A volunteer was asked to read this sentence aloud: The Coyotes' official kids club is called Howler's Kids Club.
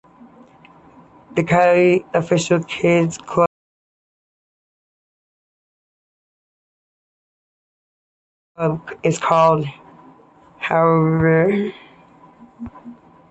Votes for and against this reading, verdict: 0, 2, rejected